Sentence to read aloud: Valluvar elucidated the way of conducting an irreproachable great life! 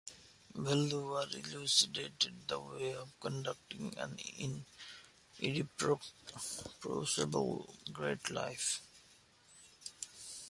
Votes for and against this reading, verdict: 0, 2, rejected